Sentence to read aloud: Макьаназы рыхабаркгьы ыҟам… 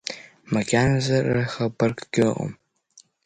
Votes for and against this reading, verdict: 2, 0, accepted